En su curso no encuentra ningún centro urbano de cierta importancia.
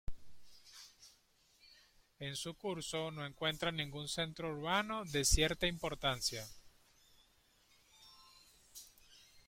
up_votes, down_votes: 2, 3